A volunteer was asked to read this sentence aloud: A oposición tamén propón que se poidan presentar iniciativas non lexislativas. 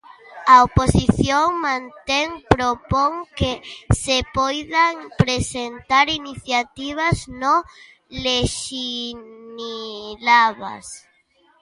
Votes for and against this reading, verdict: 0, 2, rejected